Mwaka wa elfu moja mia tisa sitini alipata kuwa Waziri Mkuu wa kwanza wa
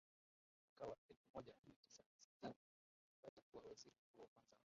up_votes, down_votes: 0, 2